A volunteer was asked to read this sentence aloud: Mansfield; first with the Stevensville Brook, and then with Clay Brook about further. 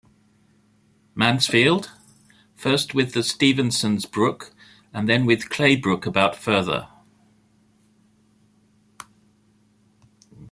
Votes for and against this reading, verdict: 1, 2, rejected